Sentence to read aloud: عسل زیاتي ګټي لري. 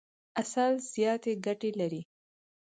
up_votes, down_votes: 4, 0